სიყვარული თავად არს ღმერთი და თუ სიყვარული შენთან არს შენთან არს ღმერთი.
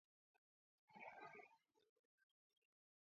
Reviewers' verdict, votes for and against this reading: rejected, 1, 2